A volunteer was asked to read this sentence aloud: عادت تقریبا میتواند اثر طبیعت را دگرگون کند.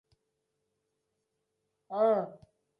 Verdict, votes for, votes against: rejected, 0, 2